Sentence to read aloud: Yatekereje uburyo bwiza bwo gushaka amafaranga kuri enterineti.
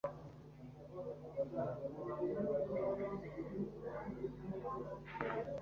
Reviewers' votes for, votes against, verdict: 1, 2, rejected